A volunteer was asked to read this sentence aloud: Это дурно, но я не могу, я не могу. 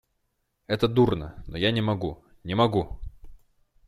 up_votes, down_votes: 0, 2